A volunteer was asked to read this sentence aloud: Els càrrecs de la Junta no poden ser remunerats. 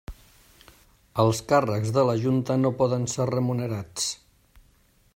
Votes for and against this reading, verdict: 3, 0, accepted